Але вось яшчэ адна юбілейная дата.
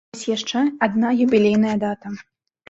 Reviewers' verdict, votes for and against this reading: rejected, 1, 2